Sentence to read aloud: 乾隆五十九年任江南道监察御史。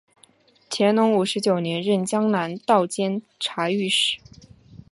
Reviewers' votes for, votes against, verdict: 2, 0, accepted